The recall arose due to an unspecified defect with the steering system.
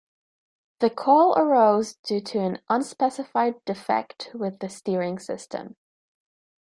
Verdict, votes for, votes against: rejected, 1, 2